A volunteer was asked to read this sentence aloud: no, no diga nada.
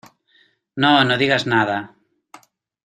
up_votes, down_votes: 1, 2